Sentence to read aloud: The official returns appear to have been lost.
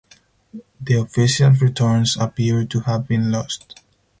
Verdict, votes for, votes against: accepted, 4, 2